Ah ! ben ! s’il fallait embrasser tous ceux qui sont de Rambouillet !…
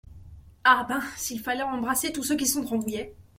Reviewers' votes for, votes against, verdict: 2, 0, accepted